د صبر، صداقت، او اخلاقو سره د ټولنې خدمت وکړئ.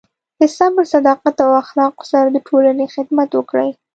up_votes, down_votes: 0, 2